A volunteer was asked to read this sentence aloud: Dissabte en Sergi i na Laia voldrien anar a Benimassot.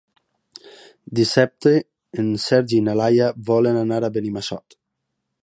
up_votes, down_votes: 0, 2